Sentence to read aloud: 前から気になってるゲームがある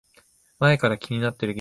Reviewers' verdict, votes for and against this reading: rejected, 0, 2